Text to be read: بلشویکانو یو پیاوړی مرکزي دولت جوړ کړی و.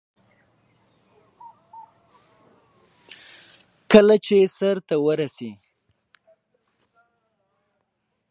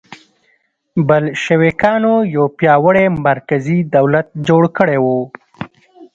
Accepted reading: second